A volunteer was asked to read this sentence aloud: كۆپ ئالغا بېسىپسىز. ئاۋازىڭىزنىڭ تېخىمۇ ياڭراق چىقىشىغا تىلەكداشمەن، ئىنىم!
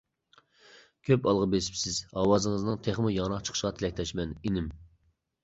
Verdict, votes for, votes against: accepted, 2, 0